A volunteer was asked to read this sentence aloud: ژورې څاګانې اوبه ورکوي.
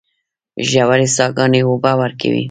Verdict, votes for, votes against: rejected, 0, 2